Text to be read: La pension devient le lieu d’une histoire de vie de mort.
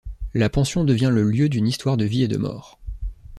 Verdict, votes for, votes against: rejected, 0, 2